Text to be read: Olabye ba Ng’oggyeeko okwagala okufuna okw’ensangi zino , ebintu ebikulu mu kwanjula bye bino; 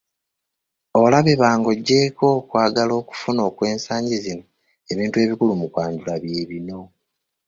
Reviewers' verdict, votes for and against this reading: accepted, 2, 0